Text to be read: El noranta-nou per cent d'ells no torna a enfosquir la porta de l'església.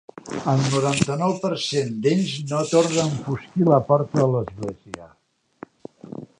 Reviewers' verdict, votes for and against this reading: accepted, 2, 0